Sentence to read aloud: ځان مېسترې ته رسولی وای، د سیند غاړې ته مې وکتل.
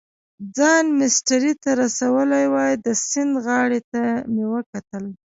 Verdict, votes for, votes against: rejected, 0, 2